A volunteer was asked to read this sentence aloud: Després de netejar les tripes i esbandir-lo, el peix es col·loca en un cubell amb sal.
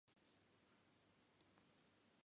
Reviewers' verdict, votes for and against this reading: rejected, 0, 2